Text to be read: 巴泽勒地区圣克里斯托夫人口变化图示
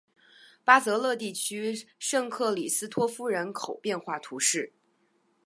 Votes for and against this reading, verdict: 2, 0, accepted